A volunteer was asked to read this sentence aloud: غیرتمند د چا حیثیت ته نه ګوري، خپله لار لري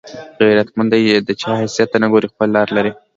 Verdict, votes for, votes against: accepted, 2, 1